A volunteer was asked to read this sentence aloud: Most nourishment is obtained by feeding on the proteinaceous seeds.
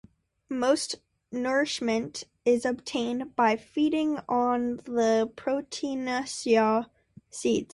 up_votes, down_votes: 0, 2